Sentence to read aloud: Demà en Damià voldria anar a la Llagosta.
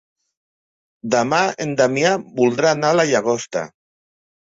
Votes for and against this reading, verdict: 1, 2, rejected